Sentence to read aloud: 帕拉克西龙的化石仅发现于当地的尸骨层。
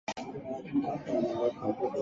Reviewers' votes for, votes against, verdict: 0, 2, rejected